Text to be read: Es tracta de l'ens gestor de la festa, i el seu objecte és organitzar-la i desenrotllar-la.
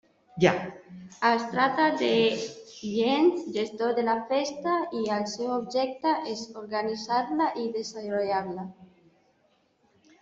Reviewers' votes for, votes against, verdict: 0, 2, rejected